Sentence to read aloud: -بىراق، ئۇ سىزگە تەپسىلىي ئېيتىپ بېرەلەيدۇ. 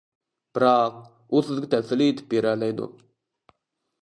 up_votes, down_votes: 1, 2